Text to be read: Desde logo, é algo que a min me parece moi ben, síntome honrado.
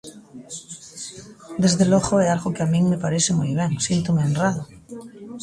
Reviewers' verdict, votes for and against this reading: rejected, 0, 2